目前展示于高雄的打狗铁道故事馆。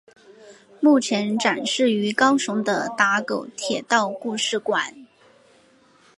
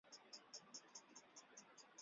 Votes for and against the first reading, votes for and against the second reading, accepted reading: 2, 0, 0, 3, first